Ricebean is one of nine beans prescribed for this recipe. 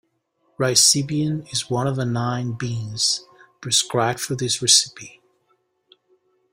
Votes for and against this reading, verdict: 1, 2, rejected